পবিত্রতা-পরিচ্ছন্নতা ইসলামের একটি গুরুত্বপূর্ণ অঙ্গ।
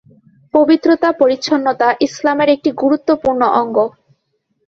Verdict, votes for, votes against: accepted, 2, 0